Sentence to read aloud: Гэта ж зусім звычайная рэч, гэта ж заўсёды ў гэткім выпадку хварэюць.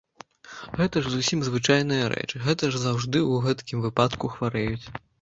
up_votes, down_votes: 0, 2